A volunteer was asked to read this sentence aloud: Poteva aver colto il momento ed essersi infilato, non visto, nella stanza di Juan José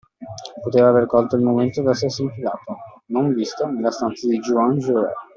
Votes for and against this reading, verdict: 1, 2, rejected